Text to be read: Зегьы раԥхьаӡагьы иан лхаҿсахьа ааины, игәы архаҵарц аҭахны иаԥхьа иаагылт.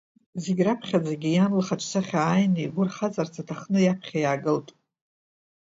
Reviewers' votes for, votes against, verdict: 2, 3, rejected